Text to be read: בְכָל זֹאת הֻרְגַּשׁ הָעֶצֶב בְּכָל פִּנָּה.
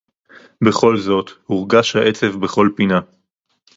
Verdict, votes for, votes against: accepted, 4, 0